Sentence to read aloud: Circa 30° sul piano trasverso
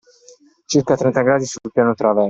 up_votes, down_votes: 0, 2